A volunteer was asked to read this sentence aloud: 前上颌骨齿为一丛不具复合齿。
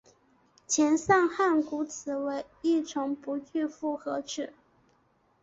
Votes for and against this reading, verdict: 9, 0, accepted